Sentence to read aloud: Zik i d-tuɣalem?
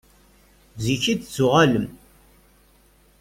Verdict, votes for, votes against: rejected, 0, 2